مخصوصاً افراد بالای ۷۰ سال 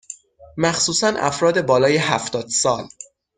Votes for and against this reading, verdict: 0, 2, rejected